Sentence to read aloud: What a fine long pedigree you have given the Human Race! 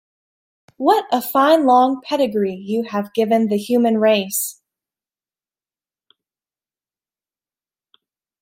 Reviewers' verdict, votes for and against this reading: accepted, 2, 0